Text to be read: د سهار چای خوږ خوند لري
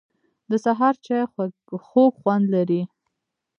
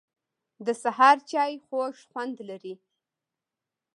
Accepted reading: second